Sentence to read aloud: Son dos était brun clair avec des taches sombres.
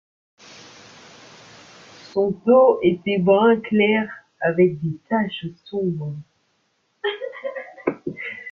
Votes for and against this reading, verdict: 1, 2, rejected